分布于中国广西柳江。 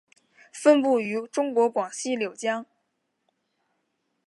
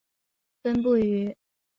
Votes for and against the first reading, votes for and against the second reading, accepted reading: 2, 0, 0, 2, first